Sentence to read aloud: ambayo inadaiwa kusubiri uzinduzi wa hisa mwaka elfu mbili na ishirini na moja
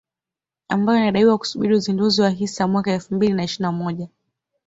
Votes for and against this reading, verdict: 2, 0, accepted